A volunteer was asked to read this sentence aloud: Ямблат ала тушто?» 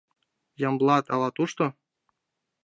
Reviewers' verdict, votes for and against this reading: accepted, 2, 0